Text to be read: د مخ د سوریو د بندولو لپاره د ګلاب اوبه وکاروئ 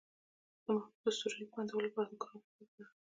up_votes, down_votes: 1, 2